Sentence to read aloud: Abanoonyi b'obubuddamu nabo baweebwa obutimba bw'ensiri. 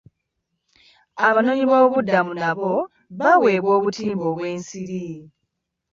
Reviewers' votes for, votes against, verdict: 2, 0, accepted